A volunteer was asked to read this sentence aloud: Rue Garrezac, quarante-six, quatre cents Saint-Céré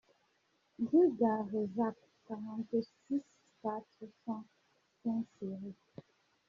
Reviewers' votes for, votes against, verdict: 1, 3, rejected